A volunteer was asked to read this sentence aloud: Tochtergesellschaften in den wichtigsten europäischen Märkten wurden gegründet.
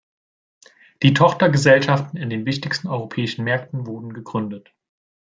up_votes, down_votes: 0, 2